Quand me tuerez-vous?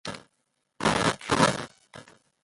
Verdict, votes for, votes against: rejected, 0, 2